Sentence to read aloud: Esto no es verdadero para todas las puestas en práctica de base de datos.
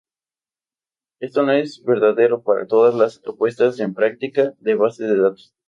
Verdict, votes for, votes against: accepted, 2, 0